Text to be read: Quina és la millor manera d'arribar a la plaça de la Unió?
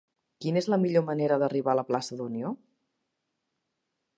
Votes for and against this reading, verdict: 0, 2, rejected